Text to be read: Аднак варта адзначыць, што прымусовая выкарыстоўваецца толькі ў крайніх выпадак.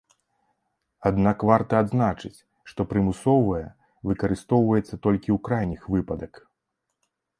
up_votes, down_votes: 2, 0